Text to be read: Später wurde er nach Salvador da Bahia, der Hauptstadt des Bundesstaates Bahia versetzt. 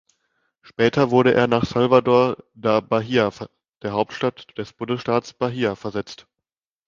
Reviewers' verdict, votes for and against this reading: rejected, 1, 2